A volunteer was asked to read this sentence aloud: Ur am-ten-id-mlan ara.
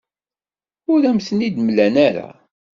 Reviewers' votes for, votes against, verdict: 2, 0, accepted